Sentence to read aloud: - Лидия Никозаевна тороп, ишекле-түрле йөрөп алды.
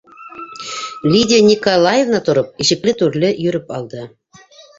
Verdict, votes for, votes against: accepted, 2, 1